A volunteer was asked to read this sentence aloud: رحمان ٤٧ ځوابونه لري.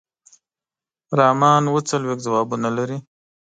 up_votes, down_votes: 0, 2